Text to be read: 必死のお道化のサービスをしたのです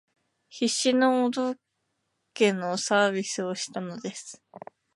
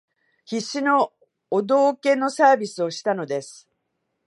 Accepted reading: first